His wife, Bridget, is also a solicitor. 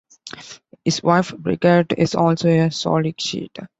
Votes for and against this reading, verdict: 1, 2, rejected